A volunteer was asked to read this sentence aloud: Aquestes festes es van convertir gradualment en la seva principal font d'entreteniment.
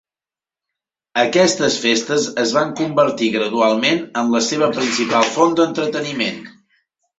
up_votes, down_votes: 4, 0